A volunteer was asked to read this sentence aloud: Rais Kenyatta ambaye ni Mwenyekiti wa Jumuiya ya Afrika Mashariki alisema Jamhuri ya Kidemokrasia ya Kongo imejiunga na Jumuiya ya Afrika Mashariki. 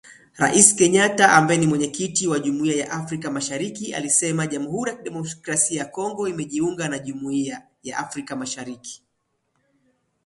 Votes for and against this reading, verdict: 2, 0, accepted